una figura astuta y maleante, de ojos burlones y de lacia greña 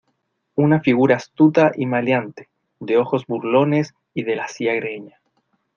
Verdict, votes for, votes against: accepted, 2, 0